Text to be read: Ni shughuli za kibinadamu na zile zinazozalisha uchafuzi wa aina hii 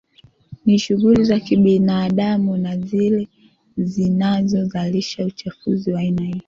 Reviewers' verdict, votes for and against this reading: accepted, 2, 0